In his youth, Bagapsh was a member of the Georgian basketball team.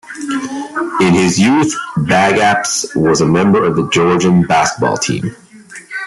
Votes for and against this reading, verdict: 2, 0, accepted